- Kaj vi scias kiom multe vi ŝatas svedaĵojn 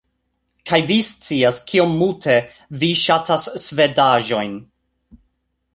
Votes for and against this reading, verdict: 4, 0, accepted